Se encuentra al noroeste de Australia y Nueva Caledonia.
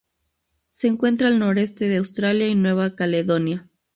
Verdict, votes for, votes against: rejected, 2, 2